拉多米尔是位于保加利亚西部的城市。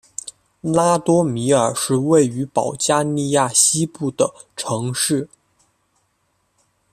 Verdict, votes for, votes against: accepted, 2, 0